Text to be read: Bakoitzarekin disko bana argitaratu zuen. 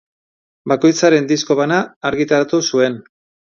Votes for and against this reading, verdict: 0, 2, rejected